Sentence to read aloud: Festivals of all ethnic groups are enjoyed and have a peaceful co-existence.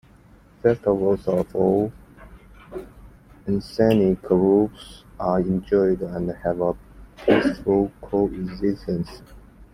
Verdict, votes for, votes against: rejected, 1, 2